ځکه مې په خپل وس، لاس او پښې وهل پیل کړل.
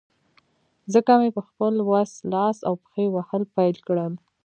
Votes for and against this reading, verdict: 2, 1, accepted